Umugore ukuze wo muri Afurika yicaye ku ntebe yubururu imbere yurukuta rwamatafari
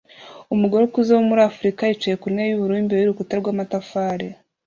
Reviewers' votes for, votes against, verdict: 2, 0, accepted